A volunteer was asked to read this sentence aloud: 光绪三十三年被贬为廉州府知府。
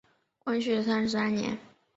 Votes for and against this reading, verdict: 0, 2, rejected